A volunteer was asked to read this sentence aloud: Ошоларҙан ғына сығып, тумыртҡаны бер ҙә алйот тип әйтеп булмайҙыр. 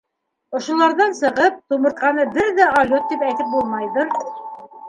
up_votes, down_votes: 1, 2